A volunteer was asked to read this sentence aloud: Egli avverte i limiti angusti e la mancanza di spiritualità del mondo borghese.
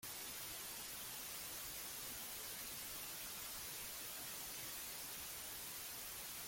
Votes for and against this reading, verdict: 0, 5, rejected